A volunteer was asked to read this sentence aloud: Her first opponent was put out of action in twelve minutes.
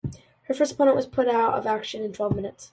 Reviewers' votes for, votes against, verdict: 2, 0, accepted